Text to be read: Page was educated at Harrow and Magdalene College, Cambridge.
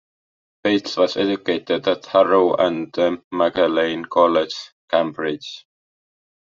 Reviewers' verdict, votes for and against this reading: rejected, 1, 2